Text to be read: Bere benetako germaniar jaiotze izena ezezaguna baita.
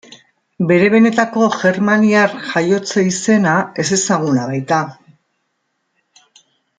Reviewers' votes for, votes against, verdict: 2, 0, accepted